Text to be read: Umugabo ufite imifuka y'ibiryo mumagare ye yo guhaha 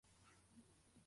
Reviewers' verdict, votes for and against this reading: rejected, 0, 2